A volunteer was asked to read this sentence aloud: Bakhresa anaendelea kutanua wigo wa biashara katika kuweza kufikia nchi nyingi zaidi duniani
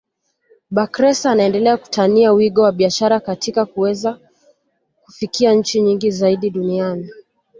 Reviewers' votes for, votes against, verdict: 2, 1, accepted